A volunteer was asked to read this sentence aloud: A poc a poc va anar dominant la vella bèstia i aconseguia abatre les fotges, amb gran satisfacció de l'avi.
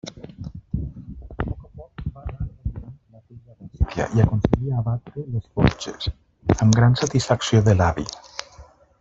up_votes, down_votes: 1, 2